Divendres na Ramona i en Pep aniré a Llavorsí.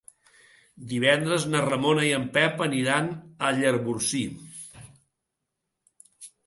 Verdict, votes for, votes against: rejected, 0, 2